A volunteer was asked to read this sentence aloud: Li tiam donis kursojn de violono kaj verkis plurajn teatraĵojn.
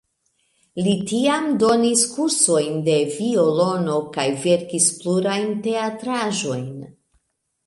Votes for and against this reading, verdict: 1, 2, rejected